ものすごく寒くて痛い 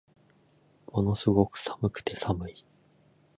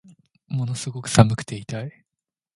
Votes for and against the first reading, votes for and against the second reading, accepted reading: 2, 6, 2, 1, second